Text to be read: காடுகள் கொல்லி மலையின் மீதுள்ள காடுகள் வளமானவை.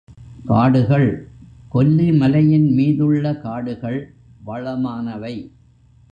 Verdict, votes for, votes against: rejected, 1, 2